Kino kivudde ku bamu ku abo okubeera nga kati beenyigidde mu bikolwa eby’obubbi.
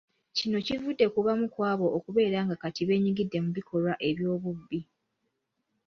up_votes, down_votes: 2, 0